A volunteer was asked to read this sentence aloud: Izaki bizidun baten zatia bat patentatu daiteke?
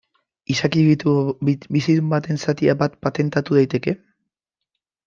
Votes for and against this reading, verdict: 0, 3, rejected